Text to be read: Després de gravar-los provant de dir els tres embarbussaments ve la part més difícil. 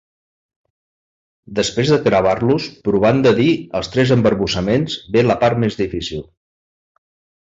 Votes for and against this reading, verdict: 2, 1, accepted